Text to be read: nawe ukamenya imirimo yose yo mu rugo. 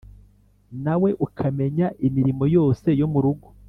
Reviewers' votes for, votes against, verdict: 4, 0, accepted